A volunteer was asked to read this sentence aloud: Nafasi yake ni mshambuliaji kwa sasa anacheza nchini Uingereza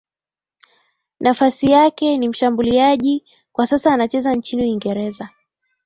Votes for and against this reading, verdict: 2, 0, accepted